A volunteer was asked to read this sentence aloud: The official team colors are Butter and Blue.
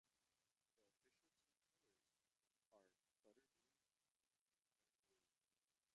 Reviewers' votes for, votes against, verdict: 0, 2, rejected